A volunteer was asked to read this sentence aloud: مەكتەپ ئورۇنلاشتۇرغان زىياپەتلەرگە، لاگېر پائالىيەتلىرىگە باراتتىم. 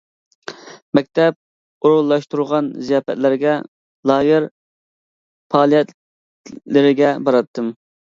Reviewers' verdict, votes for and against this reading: accepted, 2, 1